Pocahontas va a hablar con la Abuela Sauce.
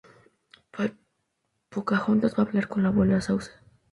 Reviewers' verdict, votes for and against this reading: rejected, 0, 2